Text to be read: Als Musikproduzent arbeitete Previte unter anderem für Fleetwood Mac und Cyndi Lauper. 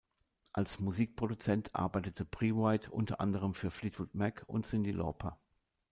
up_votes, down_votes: 2, 0